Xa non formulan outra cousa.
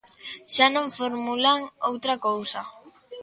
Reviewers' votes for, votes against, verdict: 3, 0, accepted